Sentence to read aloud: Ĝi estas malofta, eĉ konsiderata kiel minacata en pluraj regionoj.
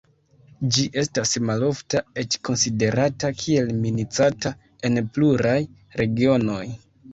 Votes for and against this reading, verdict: 2, 0, accepted